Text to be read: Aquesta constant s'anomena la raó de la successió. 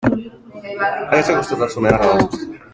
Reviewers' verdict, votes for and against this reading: rejected, 0, 2